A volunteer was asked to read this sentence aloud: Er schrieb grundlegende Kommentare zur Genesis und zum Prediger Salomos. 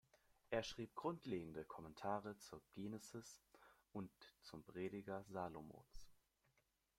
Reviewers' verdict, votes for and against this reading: accepted, 2, 1